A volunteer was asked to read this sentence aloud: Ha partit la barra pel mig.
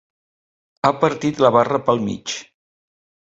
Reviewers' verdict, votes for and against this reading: accepted, 3, 0